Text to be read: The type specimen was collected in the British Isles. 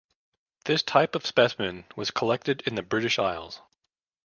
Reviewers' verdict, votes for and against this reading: rejected, 1, 2